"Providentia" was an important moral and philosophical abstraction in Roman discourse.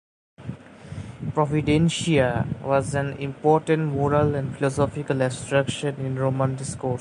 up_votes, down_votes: 0, 2